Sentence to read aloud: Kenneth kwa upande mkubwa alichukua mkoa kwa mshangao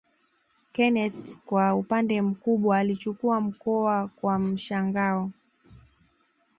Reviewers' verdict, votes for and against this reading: accepted, 2, 0